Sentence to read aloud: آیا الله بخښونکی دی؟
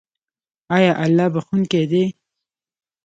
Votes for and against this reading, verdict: 1, 2, rejected